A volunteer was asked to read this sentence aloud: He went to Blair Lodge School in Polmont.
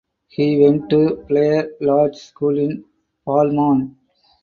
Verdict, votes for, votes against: rejected, 0, 2